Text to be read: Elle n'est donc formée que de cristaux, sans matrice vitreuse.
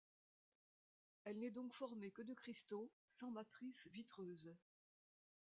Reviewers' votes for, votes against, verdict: 2, 1, accepted